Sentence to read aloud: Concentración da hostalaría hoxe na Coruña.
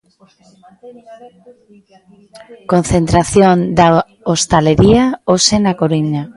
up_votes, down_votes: 0, 2